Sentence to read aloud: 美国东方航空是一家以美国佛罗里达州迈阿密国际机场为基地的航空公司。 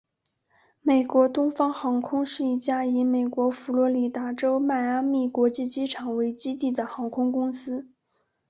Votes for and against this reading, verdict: 5, 0, accepted